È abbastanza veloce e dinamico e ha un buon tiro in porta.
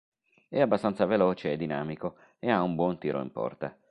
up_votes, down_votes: 2, 0